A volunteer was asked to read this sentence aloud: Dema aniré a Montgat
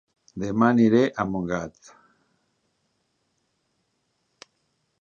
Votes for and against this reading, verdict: 2, 0, accepted